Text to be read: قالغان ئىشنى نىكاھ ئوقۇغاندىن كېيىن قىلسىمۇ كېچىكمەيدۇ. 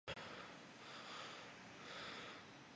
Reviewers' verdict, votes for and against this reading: rejected, 0, 2